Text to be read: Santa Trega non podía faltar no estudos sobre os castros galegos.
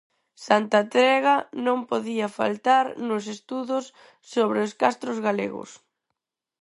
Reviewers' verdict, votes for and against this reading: rejected, 2, 4